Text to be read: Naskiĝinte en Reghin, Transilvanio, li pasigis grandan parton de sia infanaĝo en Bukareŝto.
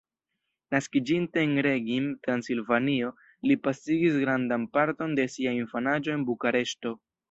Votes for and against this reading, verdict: 1, 2, rejected